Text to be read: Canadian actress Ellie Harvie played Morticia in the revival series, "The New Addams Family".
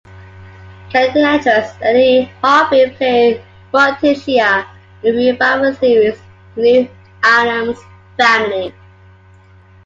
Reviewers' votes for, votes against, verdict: 0, 2, rejected